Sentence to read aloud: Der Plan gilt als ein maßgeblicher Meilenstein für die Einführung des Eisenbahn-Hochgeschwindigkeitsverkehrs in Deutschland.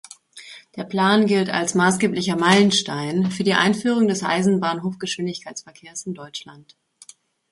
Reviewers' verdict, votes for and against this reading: rejected, 1, 2